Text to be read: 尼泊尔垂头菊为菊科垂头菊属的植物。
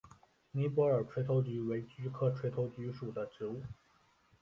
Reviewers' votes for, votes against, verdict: 2, 3, rejected